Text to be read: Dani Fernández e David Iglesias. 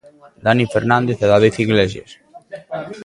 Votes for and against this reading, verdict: 2, 0, accepted